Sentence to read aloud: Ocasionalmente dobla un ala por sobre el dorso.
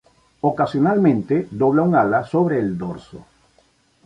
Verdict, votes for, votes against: rejected, 1, 2